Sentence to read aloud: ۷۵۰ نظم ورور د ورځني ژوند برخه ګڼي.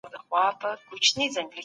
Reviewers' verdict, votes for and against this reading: rejected, 0, 2